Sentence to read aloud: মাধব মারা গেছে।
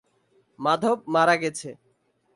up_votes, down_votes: 2, 0